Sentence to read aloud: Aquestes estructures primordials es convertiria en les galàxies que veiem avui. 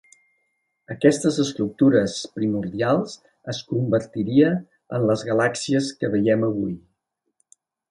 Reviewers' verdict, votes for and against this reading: accepted, 2, 0